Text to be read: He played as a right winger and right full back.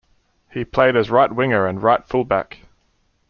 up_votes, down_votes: 0, 2